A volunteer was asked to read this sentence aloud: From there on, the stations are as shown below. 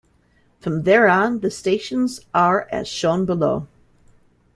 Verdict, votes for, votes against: accepted, 2, 0